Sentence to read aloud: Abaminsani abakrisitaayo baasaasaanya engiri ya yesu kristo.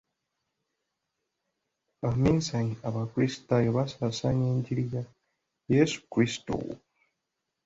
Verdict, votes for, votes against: accepted, 2, 1